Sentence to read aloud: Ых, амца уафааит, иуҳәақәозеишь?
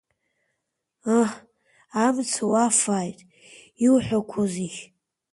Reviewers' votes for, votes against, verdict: 2, 1, accepted